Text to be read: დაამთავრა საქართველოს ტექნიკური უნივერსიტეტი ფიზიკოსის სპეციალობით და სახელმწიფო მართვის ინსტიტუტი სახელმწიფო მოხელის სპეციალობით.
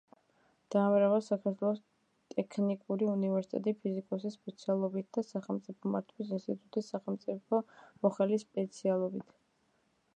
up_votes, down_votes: 2, 0